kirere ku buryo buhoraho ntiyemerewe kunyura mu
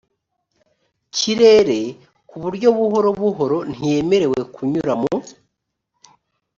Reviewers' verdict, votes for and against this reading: rejected, 1, 2